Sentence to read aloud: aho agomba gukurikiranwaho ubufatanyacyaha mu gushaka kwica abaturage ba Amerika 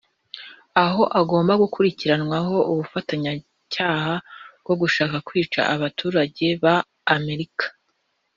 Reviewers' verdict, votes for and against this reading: accepted, 2, 0